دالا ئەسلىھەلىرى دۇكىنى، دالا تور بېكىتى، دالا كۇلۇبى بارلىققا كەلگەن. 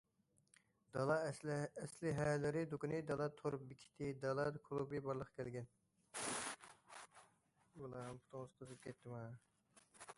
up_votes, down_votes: 0, 2